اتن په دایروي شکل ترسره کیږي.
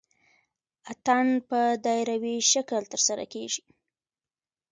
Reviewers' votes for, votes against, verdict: 2, 1, accepted